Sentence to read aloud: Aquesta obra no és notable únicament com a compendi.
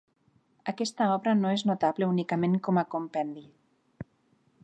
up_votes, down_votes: 3, 0